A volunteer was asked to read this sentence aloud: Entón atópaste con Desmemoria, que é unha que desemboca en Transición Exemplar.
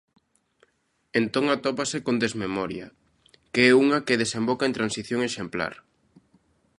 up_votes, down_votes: 0, 2